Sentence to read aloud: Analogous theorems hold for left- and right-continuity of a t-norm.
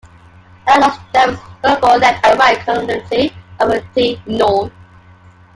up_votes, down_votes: 0, 2